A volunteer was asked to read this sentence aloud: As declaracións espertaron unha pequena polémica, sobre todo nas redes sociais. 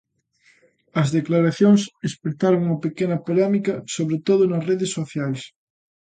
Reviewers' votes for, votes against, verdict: 2, 0, accepted